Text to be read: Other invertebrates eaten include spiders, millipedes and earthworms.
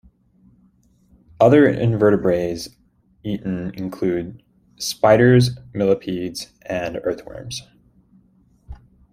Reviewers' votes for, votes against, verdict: 1, 2, rejected